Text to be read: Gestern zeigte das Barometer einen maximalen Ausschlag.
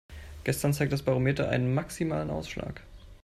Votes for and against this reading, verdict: 1, 2, rejected